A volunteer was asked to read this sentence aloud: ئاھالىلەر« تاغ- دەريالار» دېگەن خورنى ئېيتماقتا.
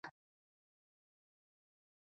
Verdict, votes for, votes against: rejected, 0, 2